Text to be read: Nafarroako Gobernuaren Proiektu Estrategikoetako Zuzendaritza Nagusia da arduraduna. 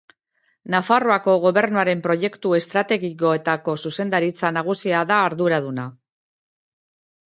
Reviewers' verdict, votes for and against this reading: accepted, 2, 0